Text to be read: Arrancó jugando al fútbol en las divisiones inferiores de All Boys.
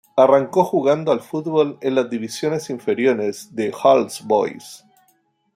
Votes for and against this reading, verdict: 2, 0, accepted